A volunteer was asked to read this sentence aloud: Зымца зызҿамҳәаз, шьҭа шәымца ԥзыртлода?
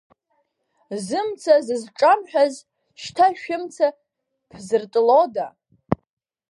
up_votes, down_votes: 0, 2